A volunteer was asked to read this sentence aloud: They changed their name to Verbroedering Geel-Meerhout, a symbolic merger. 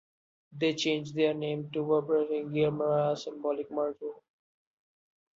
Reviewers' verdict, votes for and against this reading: accepted, 2, 0